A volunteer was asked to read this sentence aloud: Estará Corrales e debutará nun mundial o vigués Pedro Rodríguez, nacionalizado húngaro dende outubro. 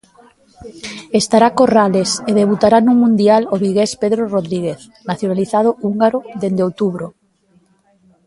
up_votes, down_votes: 1, 2